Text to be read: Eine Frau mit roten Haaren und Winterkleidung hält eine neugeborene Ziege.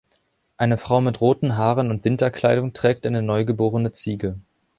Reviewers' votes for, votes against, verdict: 0, 2, rejected